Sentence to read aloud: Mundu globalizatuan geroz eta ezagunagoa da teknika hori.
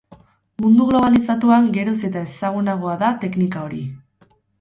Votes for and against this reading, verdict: 2, 2, rejected